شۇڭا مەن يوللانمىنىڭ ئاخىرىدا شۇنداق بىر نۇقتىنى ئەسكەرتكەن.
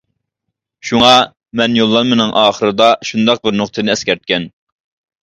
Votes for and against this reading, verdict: 2, 0, accepted